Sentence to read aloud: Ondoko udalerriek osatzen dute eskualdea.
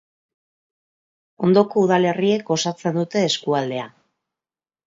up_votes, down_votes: 2, 0